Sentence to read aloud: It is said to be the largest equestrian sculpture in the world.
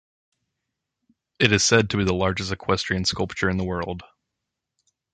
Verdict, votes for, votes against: accepted, 2, 0